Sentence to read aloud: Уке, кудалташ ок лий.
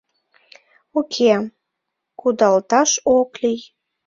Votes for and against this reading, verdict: 2, 0, accepted